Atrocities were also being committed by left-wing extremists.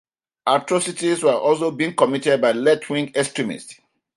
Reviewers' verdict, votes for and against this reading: accepted, 2, 0